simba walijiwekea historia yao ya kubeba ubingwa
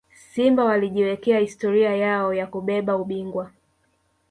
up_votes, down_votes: 1, 2